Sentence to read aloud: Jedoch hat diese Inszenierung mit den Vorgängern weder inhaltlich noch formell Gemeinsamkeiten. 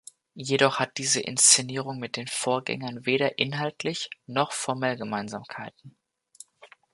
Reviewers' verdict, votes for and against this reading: accepted, 2, 0